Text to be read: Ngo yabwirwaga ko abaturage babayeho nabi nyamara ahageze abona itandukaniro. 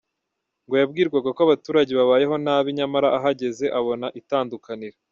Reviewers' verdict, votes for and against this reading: rejected, 0, 2